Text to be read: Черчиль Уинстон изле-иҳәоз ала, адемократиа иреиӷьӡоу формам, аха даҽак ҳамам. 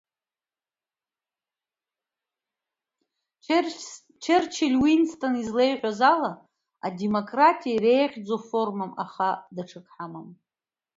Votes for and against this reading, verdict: 1, 2, rejected